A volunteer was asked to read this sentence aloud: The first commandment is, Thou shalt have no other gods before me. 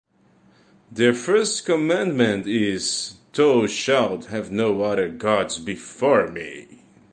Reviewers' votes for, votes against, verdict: 2, 0, accepted